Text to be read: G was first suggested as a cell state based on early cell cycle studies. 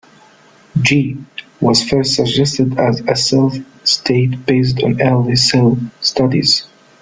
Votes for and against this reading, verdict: 0, 2, rejected